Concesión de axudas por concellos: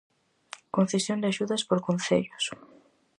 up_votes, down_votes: 4, 0